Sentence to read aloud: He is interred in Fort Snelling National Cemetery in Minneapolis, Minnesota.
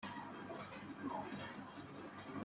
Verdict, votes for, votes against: rejected, 0, 2